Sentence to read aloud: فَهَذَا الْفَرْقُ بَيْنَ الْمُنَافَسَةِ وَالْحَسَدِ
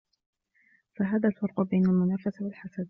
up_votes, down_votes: 2, 0